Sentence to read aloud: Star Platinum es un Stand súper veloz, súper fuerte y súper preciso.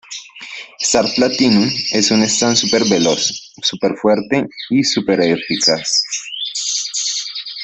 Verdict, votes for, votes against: rejected, 0, 2